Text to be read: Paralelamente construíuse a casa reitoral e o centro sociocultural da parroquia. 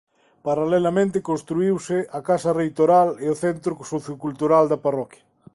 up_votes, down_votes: 2, 0